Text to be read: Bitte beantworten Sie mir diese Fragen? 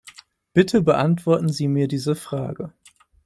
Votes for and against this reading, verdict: 2, 4, rejected